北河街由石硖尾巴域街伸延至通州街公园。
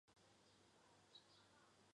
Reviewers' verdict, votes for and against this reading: accepted, 4, 0